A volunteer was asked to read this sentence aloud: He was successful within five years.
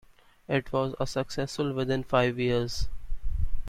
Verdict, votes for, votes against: rejected, 0, 2